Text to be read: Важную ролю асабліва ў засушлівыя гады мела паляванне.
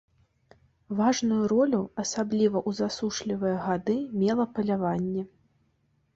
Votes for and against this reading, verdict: 2, 0, accepted